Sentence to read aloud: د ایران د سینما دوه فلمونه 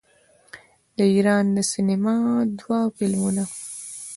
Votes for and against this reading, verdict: 1, 2, rejected